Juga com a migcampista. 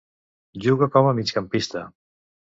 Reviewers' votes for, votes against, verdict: 2, 0, accepted